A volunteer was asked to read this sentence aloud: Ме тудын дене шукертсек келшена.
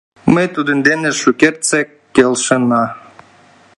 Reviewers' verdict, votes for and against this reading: accepted, 2, 1